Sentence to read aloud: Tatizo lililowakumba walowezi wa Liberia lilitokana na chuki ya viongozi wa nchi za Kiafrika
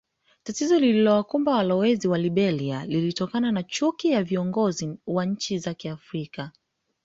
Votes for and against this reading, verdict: 2, 0, accepted